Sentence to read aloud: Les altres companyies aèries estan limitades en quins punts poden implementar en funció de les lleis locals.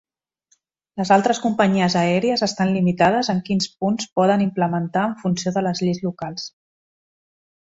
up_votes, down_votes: 3, 0